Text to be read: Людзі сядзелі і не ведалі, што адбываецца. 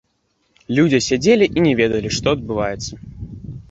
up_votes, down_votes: 1, 2